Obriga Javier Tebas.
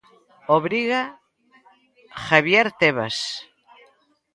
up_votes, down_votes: 2, 0